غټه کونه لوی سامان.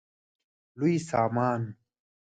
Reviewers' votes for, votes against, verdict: 0, 2, rejected